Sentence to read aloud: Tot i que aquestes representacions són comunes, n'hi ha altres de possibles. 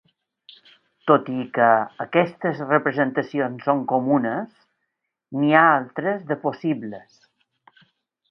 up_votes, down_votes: 3, 0